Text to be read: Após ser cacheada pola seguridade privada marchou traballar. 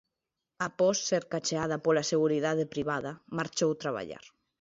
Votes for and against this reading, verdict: 2, 0, accepted